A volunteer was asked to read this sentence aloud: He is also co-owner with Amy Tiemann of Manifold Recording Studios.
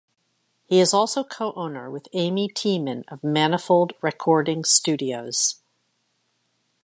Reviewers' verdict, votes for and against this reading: accepted, 2, 0